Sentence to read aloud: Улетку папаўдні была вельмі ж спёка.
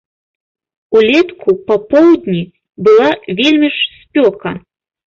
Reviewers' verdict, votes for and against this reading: rejected, 1, 2